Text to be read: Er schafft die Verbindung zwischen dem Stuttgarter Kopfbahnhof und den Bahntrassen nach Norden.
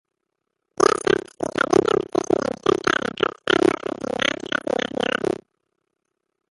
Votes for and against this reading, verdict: 0, 2, rejected